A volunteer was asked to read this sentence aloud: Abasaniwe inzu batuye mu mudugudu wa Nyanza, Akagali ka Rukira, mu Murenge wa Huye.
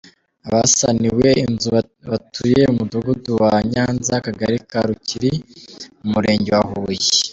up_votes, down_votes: 1, 2